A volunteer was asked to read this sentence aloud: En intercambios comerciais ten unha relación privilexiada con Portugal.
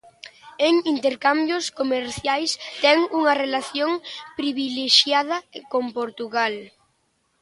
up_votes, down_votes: 2, 1